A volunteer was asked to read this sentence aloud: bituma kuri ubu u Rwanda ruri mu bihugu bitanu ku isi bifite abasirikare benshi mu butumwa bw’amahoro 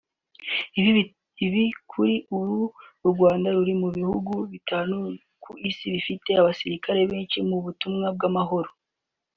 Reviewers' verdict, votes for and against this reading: rejected, 0, 2